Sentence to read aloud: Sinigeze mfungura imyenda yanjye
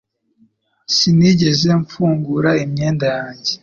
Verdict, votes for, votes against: accepted, 2, 0